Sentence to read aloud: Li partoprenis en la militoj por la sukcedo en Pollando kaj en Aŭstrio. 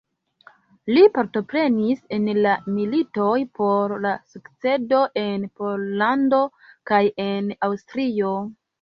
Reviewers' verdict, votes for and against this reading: accepted, 2, 1